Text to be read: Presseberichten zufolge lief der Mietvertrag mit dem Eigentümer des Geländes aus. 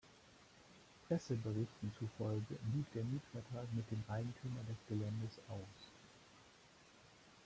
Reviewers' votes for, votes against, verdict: 0, 2, rejected